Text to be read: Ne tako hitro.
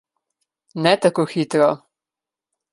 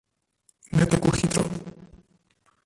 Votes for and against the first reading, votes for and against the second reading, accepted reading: 2, 0, 1, 2, first